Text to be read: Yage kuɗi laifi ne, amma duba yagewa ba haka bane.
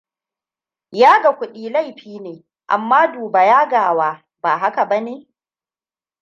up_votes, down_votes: 1, 2